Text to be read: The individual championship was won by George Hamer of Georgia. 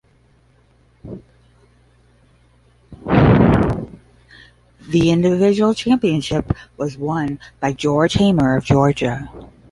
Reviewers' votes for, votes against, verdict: 20, 15, accepted